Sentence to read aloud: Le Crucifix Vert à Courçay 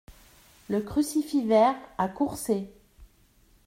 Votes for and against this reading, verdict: 2, 0, accepted